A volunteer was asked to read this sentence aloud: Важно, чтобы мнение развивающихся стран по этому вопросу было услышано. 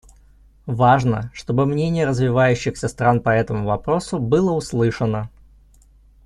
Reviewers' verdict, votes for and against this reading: accepted, 2, 0